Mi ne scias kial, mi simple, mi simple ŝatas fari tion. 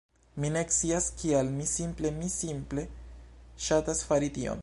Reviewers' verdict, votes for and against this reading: rejected, 1, 2